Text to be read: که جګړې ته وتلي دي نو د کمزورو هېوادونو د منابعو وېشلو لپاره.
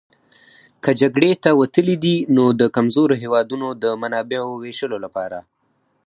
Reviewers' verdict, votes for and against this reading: rejected, 2, 4